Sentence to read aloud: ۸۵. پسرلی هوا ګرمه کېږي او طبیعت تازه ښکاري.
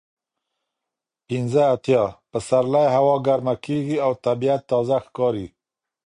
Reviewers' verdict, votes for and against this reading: rejected, 0, 2